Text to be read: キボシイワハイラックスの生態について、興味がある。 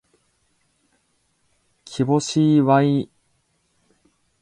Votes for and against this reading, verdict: 0, 2, rejected